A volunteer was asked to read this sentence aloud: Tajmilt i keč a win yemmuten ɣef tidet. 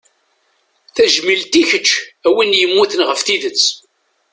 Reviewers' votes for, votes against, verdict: 2, 0, accepted